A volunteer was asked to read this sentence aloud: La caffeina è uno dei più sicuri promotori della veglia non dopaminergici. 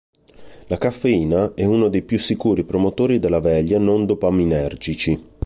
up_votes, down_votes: 2, 0